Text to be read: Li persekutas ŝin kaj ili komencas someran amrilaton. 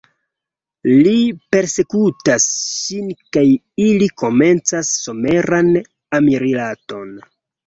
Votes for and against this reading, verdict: 2, 0, accepted